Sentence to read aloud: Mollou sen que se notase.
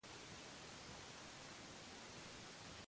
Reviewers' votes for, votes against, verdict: 0, 2, rejected